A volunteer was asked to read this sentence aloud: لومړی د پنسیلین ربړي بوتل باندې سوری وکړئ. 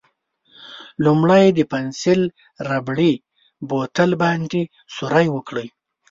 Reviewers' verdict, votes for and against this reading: rejected, 0, 2